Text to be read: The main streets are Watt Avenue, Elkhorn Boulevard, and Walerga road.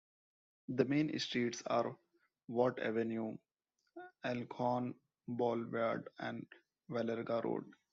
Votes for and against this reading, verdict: 1, 2, rejected